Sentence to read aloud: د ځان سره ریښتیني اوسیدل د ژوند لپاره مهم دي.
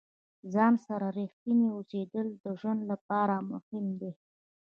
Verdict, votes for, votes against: accepted, 2, 0